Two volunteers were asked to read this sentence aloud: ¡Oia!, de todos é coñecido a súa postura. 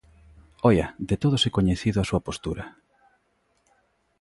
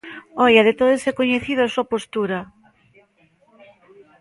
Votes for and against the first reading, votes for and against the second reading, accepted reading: 2, 0, 1, 2, first